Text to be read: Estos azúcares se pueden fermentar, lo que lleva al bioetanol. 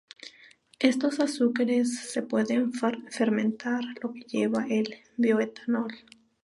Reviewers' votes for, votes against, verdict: 0, 4, rejected